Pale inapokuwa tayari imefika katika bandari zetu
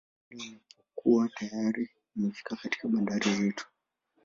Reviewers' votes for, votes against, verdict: 1, 2, rejected